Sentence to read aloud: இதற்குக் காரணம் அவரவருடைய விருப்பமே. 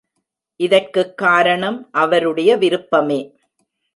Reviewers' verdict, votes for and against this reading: rejected, 1, 2